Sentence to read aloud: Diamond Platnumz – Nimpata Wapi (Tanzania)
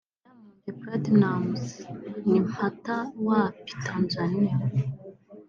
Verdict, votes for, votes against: rejected, 0, 2